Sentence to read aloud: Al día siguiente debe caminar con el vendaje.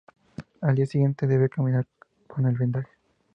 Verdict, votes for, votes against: rejected, 0, 2